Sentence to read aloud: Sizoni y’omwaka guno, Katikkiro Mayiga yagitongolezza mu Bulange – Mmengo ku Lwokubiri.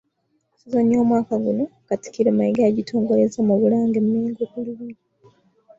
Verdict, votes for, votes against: rejected, 0, 2